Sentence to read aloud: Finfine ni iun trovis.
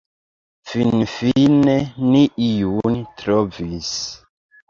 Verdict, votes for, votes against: accepted, 2, 0